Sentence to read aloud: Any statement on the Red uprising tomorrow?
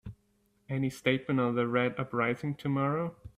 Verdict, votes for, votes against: accepted, 4, 1